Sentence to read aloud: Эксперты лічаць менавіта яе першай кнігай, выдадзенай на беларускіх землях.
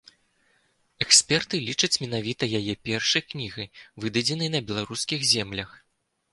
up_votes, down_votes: 3, 0